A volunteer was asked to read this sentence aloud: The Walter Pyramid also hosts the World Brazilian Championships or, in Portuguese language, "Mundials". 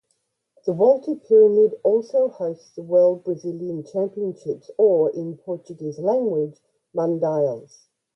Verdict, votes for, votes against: rejected, 0, 2